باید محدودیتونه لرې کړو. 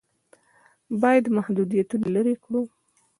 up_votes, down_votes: 2, 0